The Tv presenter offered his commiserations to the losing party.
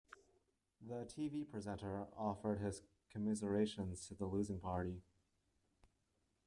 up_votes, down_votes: 1, 2